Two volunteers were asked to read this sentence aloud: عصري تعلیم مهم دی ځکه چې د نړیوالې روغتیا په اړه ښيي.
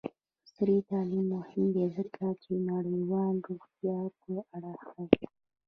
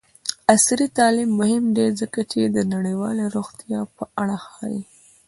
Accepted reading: second